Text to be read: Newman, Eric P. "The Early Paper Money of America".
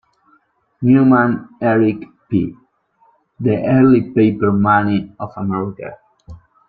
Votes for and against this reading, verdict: 2, 0, accepted